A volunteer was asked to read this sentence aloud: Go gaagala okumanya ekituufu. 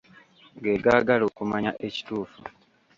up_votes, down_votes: 1, 2